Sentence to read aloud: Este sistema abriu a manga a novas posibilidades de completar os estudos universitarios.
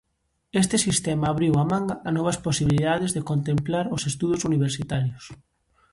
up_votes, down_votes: 0, 2